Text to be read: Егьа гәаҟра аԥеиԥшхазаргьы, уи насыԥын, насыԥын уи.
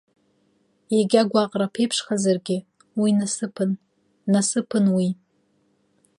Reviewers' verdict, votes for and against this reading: accepted, 2, 1